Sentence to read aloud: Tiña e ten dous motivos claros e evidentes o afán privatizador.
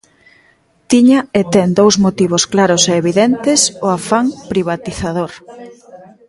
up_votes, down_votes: 2, 0